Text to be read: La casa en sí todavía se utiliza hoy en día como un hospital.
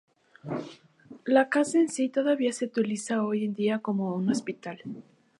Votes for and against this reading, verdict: 2, 2, rejected